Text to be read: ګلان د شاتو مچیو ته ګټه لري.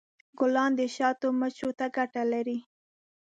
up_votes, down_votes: 1, 2